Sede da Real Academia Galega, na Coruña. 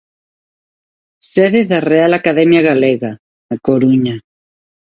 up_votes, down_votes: 2, 0